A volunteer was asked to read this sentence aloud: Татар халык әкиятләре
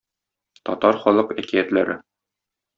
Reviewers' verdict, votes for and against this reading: accepted, 2, 0